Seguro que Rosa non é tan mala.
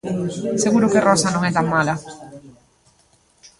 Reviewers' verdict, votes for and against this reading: accepted, 2, 0